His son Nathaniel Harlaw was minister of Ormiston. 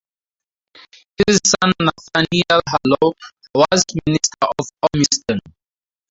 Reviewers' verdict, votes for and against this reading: rejected, 0, 2